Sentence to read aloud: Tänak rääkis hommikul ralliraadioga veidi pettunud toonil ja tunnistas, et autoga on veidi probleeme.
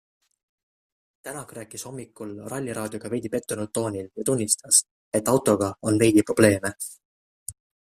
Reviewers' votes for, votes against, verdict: 2, 0, accepted